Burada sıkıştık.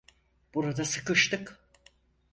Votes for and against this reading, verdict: 4, 0, accepted